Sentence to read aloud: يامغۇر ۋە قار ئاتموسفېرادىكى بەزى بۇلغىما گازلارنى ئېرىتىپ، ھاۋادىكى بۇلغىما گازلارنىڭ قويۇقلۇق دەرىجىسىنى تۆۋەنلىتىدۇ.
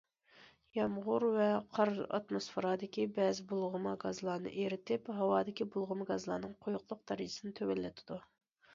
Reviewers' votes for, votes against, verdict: 2, 0, accepted